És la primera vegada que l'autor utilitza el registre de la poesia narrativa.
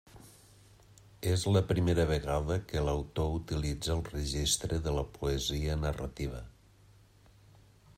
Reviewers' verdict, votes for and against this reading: accepted, 3, 0